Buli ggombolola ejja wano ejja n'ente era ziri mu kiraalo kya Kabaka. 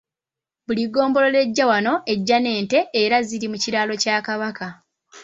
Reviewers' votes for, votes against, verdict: 2, 0, accepted